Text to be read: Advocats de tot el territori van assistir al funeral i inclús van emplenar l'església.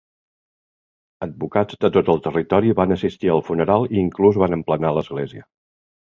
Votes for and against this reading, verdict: 2, 0, accepted